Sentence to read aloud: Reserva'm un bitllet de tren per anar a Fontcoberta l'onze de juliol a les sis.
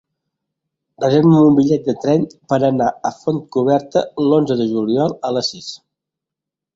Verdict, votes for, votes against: rejected, 0, 2